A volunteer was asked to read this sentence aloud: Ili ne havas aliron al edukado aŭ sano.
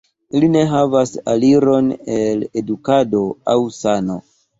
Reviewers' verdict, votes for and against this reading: accepted, 2, 0